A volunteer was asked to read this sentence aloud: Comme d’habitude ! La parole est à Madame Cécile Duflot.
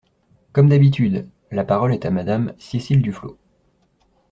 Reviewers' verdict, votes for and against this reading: accepted, 2, 0